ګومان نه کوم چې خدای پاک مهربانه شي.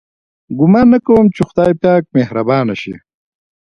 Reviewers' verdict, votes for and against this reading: rejected, 1, 2